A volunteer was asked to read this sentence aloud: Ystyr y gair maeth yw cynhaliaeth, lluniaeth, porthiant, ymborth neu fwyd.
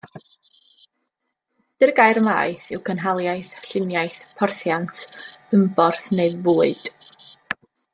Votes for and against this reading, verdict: 0, 2, rejected